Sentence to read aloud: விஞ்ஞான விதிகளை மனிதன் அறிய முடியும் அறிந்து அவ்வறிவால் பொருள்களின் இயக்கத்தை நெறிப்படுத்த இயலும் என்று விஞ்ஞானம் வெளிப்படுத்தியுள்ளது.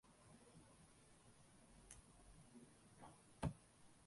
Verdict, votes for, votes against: rejected, 0, 2